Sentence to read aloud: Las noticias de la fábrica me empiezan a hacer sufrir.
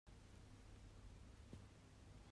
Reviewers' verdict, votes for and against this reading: rejected, 0, 2